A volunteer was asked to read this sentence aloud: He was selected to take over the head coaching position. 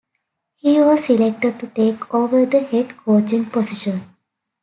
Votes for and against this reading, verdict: 2, 0, accepted